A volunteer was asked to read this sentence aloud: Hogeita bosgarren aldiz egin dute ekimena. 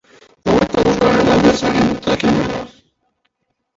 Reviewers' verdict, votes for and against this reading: rejected, 0, 3